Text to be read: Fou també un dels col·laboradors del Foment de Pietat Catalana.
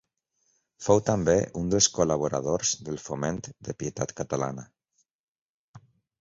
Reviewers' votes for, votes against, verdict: 3, 0, accepted